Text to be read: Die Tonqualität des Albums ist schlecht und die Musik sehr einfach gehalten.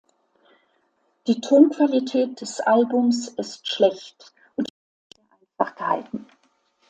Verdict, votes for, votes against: rejected, 0, 2